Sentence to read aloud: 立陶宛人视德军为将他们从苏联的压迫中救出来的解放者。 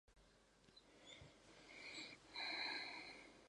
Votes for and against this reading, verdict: 0, 2, rejected